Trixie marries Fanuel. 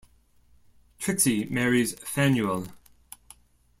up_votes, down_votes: 2, 0